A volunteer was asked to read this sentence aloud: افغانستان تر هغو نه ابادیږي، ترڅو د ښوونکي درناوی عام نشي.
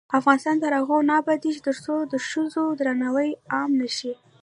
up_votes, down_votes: 2, 0